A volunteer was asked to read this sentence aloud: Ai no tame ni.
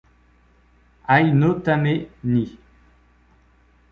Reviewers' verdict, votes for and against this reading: rejected, 1, 2